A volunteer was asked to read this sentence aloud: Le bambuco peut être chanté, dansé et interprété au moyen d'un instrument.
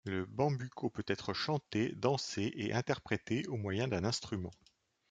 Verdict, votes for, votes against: accepted, 2, 0